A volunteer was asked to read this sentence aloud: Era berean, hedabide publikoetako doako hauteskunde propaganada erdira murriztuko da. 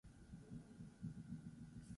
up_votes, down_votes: 0, 6